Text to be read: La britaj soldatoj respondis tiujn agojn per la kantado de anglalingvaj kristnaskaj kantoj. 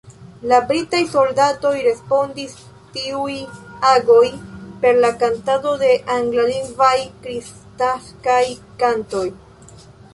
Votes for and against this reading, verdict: 1, 2, rejected